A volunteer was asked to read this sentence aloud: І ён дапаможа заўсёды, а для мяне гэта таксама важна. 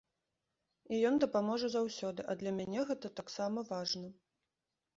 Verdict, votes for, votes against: accepted, 2, 0